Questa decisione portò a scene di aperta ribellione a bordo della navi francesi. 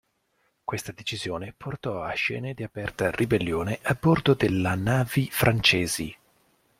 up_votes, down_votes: 1, 2